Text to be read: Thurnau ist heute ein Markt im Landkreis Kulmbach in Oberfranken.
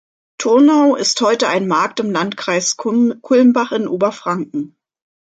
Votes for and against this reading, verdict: 0, 2, rejected